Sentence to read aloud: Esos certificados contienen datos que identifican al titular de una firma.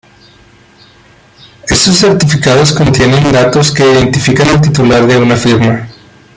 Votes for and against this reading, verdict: 2, 0, accepted